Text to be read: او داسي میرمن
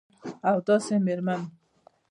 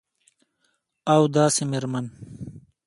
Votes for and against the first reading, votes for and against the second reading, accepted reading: 1, 2, 2, 0, second